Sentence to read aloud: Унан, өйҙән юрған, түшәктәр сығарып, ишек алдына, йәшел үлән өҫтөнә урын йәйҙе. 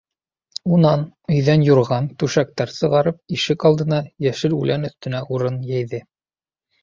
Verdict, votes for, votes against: accepted, 2, 0